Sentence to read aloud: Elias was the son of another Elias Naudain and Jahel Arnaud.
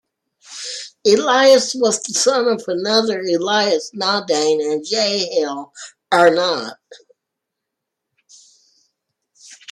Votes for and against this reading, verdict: 2, 1, accepted